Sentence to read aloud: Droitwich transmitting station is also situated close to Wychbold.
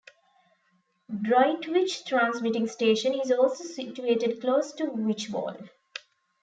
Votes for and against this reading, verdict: 2, 0, accepted